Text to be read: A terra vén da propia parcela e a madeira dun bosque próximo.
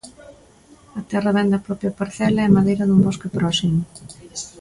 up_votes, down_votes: 2, 0